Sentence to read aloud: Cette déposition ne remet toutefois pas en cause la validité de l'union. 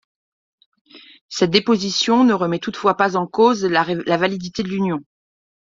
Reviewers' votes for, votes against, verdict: 0, 2, rejected